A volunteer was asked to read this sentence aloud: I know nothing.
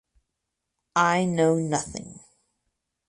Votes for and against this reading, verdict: 4, 0, accepted